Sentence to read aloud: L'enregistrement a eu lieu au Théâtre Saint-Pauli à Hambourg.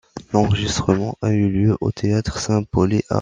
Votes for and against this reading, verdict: 0, 2, rejected